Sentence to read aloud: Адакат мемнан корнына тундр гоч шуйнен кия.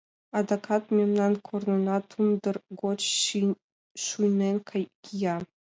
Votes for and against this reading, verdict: 1, 2, rejected